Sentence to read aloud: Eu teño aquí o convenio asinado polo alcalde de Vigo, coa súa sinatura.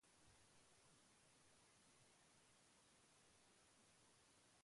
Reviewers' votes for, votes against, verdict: 0, 2, rejected